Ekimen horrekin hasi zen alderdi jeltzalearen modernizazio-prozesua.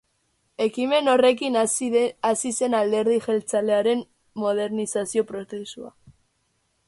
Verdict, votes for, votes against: rejected, 0, 2